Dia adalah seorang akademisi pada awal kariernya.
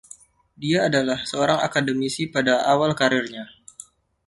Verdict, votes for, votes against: accepted, 2, 0